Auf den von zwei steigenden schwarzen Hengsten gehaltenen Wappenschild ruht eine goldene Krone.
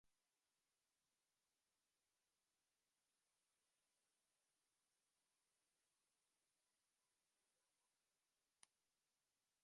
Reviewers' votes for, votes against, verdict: 0, 2, rejected